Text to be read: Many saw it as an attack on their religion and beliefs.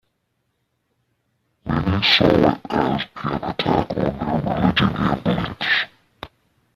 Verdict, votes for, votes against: rejected, 0, 2